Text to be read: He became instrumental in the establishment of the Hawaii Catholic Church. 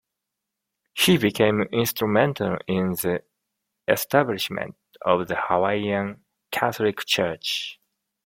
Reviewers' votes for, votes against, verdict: 1, 2, rejected